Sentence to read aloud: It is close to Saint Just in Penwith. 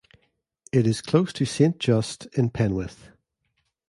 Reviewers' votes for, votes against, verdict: 2, 0, accepted